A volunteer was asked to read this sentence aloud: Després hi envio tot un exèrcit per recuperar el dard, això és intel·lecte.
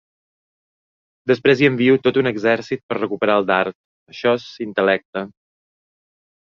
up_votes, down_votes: 0, 4